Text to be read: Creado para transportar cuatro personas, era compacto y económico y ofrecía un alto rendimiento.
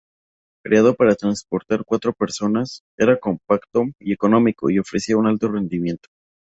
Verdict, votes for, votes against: accepted, 4, 0